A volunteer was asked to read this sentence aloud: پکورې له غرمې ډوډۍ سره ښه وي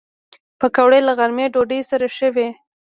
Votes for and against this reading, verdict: 2, 0, accepted